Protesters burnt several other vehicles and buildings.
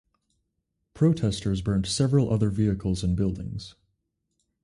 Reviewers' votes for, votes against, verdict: 2, 2, rejected